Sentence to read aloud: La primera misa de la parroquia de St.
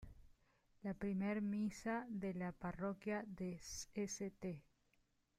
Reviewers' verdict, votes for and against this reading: accepted, 2, 1